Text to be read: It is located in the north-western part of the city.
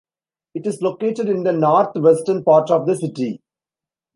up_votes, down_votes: 2, 0